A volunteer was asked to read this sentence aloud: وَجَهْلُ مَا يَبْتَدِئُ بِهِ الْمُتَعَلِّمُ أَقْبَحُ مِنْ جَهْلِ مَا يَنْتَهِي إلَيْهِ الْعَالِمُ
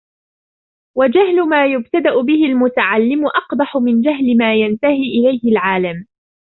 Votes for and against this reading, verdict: 1, 2, rejected